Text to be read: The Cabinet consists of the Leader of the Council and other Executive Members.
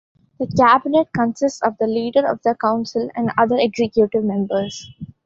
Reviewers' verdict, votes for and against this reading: accepted, 4, 0